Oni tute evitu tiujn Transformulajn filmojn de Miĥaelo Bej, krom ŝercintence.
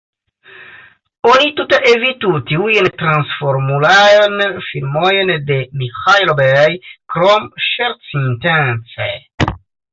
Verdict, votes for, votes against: accepted, 2, 1